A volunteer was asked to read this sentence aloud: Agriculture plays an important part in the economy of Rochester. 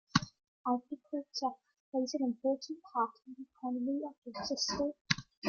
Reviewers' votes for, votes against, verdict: 2, 0, accepted